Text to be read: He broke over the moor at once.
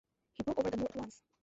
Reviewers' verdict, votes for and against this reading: rejected, 0, 2